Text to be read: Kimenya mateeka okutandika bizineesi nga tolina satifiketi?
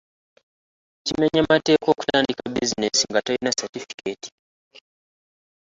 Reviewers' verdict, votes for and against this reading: rejected, 1, 2